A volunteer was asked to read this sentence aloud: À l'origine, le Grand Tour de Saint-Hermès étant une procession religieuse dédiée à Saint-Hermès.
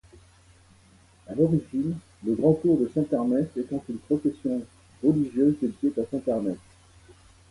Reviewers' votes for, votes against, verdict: 1, 2, rejected